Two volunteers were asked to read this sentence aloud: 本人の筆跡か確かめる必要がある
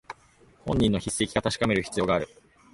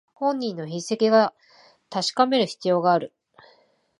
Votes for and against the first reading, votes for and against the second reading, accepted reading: 4, 0, 1, 2, first